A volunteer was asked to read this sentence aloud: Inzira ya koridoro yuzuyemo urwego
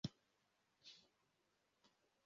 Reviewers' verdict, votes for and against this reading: rejected, 0, 2